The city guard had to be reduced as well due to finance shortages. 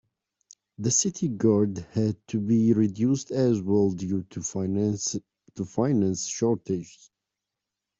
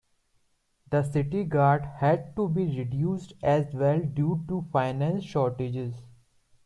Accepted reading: second